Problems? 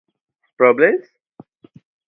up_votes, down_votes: 2, 0